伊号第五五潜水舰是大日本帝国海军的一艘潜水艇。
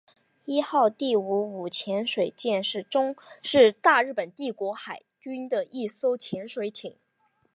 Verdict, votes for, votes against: accepted, 2, 1